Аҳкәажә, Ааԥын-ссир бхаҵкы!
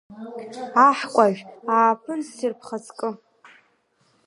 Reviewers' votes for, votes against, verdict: 2, 1, accepted